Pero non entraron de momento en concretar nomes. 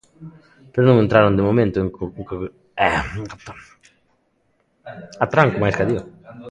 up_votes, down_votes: 0, 2